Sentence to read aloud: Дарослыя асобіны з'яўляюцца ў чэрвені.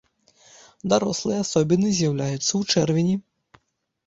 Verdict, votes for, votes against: accepted, 2, 0